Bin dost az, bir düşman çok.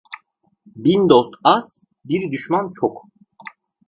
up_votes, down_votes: 2, 0